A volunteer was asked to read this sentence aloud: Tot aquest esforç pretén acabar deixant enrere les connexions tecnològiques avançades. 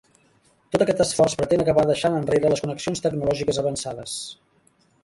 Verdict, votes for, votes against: rejected, 1, 2